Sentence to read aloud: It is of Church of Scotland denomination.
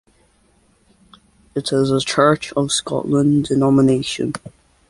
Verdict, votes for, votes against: accepted, 2, 1